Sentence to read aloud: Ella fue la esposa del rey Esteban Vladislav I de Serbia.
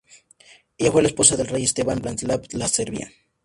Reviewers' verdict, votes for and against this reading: accepted, 2, 0